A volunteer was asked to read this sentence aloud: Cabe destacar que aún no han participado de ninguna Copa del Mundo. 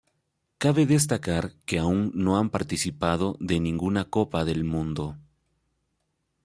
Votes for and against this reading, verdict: 2, 0, accepted